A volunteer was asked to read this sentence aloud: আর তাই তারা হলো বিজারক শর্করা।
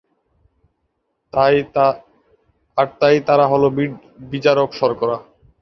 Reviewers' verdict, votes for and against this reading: rejected, 0, 2